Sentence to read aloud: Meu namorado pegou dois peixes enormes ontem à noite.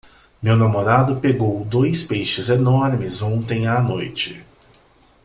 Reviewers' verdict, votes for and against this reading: accepted, 2, 0